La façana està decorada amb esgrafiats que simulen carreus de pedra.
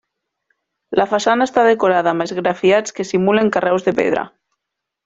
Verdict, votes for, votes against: accepted, 3, 0